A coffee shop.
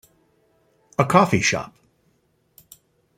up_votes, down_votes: 2, 1